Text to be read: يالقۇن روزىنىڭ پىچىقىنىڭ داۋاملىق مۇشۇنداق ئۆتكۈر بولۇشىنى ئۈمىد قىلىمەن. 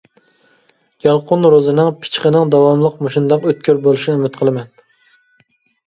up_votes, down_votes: 2, 0